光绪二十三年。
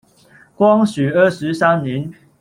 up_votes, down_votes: 1, 2